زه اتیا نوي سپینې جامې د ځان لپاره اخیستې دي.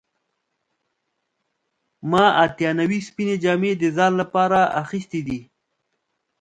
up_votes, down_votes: 1, 2